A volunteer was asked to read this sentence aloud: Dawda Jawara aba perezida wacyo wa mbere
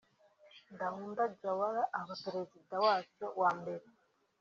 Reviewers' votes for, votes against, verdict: 2, 0, accepted